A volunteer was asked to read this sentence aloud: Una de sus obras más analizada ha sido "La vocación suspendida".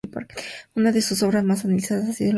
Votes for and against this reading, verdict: 0, 2, rejected